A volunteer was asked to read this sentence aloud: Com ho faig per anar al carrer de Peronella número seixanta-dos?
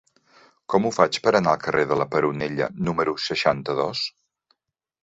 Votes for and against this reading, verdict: 1, 2, rejected